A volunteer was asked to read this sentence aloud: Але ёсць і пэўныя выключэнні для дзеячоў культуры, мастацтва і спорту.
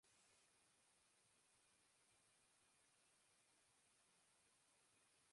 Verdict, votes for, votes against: rejected, 0, 2